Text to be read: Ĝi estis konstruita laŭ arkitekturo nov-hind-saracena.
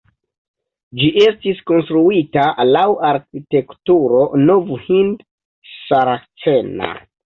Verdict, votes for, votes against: rejected, 0, 2